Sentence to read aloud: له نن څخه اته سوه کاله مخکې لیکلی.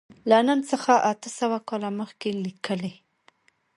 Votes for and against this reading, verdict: 2, 0, accepted